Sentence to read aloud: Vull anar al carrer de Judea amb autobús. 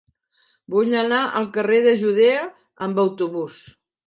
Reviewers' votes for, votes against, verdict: 2, 0, accepted